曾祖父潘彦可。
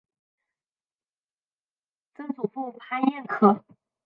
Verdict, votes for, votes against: accepted, 2, 1